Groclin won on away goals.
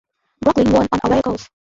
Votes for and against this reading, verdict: 0, 2, rejected